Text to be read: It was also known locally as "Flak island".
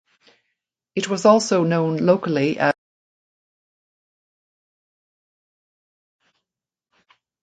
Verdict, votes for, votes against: rejected, 0, 2